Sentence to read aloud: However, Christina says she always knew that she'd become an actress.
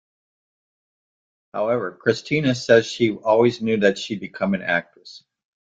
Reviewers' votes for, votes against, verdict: 2, 0, accepted